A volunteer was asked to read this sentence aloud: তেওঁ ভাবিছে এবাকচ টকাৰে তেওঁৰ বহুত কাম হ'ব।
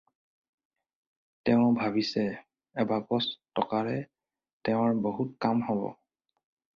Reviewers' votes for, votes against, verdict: 4, 0, accepted